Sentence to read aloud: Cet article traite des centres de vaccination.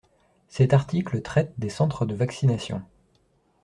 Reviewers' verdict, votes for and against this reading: accepted, 2, 0